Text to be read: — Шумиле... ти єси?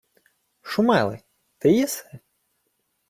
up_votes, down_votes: 1, 2